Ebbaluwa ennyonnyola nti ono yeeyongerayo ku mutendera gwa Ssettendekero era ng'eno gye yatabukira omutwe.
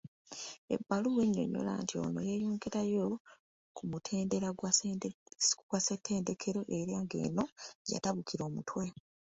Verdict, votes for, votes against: rejected, 0, 2